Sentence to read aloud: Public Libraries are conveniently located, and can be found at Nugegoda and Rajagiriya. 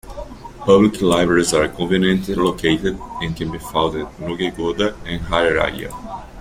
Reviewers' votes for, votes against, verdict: 2, 1, accepted